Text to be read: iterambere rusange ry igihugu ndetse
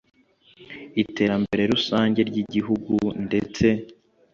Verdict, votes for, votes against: accepted, 2, 0